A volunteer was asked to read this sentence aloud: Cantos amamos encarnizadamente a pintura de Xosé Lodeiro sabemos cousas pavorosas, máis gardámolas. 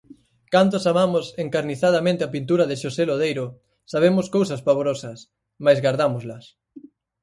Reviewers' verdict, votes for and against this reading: rejected, 0, 4